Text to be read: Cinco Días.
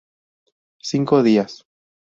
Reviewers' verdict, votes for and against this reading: accepted, 2, 0